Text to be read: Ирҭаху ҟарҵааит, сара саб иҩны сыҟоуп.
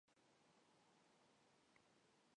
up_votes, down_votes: 1, 2